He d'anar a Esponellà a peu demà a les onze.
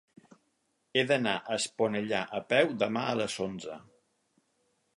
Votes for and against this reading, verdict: 4, 0, accepted